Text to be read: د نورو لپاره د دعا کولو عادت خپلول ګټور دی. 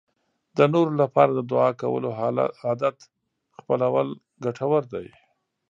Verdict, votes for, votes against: rejected, 0, 2